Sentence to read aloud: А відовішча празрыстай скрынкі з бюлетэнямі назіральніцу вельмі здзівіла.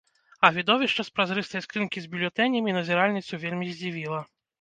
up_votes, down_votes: 1, 2